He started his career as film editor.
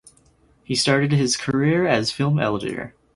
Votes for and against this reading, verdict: 0, 4, rejected